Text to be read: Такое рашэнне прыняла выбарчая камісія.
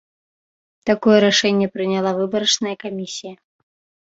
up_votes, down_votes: 0, 2